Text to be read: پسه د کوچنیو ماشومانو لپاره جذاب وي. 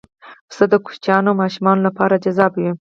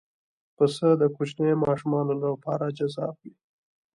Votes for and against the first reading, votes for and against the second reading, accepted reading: 2, 4, 2, 0, second